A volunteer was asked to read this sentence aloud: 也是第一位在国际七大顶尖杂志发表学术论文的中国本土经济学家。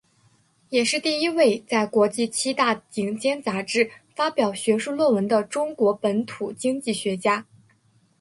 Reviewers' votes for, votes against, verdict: 2, 0, accepted